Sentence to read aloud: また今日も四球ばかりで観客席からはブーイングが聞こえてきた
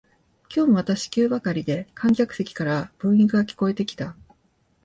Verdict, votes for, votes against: rejected, 1, 2